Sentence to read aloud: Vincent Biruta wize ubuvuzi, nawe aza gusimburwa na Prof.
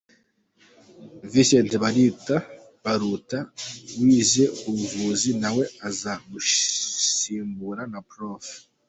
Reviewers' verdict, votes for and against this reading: rejected, 0, 2